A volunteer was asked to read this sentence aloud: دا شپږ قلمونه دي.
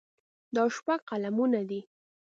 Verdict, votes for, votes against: accepted, 2, 0